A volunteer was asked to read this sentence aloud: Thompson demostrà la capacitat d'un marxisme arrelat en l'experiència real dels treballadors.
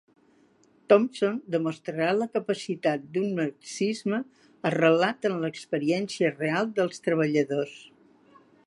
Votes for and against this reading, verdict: 0, 2, rejected